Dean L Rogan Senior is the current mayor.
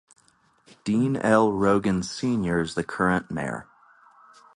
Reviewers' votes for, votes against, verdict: 2, 0, accepted